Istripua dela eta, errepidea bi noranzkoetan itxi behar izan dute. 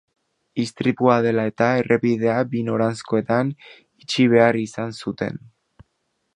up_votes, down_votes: 0, 2